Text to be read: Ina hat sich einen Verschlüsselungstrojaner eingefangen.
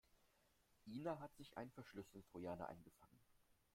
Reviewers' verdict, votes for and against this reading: rejected, 0, 2